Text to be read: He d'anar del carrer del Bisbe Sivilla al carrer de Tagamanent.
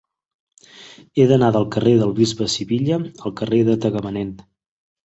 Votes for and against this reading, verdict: 3, 0, accepted